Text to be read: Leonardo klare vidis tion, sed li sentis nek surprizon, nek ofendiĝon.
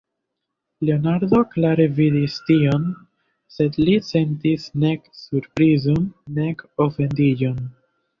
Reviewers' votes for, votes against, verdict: 2, 1, accepted